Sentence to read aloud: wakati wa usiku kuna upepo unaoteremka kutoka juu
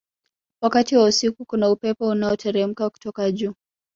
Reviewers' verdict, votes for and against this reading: accepted, 2, 0